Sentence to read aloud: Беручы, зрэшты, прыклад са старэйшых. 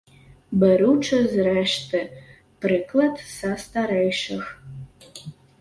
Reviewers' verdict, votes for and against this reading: rejected, 1, 2